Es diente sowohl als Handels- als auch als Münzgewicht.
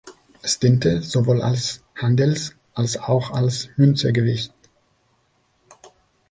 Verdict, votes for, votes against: rejected, 0, 2